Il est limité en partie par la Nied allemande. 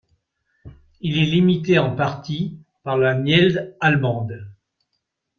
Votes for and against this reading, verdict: 0, 2, rejected